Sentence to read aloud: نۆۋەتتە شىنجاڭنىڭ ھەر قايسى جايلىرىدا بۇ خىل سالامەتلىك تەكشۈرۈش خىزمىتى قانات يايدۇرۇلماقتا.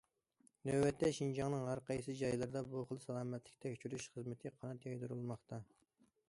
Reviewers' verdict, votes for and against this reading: accepted, 2, 0